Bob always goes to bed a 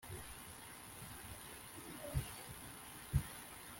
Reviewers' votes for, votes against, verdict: 0, 2, rejected